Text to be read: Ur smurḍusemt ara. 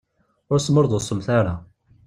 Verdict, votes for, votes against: accepted, 2, 0